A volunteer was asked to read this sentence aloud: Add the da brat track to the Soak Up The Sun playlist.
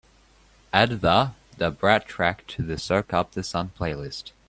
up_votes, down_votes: 2, 0